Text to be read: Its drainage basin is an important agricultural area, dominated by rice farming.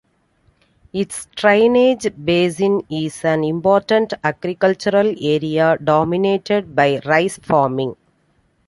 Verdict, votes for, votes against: accepted, 2, 0